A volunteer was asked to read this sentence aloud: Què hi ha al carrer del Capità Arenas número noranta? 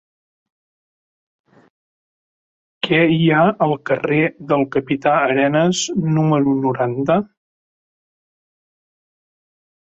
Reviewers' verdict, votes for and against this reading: accepted, 2, 0